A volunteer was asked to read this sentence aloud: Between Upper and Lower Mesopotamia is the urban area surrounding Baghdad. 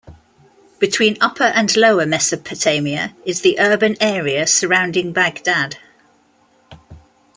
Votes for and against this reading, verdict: 2, 0, accepted